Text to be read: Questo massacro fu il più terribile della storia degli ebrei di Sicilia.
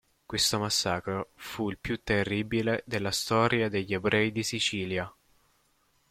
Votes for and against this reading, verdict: 2, 0, accepted